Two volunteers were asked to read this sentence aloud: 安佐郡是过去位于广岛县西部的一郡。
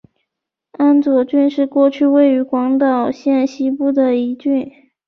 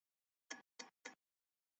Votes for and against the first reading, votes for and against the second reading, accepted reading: 3, 0, 2, 4, first